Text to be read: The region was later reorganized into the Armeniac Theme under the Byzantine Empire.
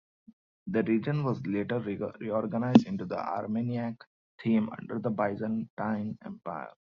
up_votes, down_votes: 1, 2